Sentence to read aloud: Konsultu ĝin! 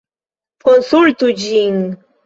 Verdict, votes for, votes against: accepted, 2, 0